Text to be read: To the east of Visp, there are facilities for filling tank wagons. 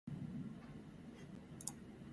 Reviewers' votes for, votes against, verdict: 0, 2, rejected